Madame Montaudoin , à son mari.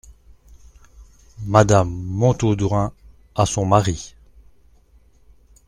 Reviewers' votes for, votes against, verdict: 2, 0, accepted